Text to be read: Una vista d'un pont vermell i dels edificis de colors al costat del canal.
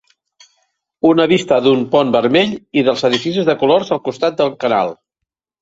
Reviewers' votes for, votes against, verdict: 3, 0, accepted